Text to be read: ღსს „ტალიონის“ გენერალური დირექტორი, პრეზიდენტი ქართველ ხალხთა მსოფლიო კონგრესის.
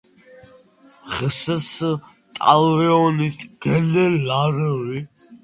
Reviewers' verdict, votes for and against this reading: rejected, 0, 2